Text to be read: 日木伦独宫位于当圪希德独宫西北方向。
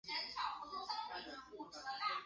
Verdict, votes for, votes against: rejected, 0, 4